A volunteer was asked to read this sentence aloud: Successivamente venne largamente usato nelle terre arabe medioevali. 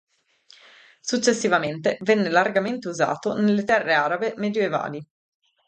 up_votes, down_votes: 2, 2